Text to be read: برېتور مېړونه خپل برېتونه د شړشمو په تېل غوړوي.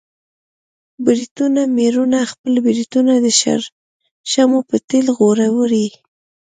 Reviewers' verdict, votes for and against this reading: accepted, 2, 0